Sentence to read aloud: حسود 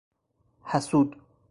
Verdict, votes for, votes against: accepted, 4, 0